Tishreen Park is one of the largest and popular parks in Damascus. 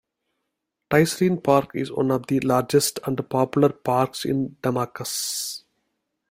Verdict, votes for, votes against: rejected, 0, 2